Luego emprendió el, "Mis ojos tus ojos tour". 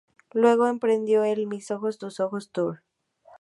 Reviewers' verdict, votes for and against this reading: accepted, 2, 0